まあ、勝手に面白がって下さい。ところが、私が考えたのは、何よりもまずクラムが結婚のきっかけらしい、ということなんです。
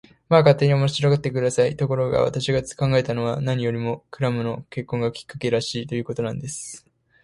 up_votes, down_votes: 1, 2